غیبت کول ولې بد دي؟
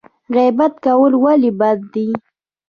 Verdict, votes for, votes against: rejected, 0, 2